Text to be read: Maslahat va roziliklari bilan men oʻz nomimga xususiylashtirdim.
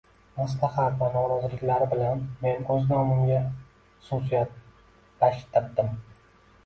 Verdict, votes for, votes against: rejected, 1, 2